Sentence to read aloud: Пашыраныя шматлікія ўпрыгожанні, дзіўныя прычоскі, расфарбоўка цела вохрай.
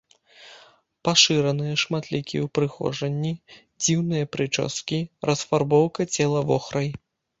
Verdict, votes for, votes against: accepted, 2, 0